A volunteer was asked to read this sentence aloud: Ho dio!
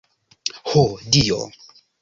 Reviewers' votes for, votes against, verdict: 2, 0, accepted